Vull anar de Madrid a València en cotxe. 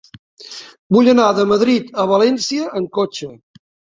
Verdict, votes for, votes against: accepted, 3, 0